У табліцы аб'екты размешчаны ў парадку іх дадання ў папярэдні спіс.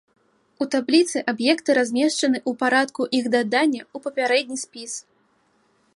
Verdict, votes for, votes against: accepted, 2, 0